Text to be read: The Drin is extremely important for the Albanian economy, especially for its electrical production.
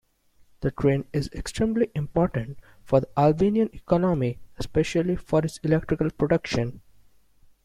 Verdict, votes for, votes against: accepted, 2, 0